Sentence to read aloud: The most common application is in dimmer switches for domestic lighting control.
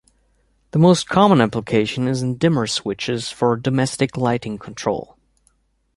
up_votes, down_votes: 2, 0